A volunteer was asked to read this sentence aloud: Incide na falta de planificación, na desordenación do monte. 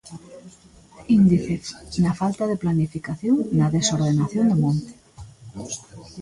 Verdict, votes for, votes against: rejected, 0, 2